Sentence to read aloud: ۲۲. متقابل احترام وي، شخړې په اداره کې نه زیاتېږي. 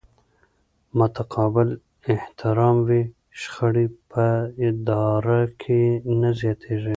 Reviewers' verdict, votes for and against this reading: rejected, 0, 2